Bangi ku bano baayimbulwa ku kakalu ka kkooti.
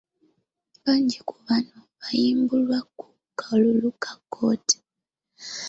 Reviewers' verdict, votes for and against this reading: rejected, 1, 2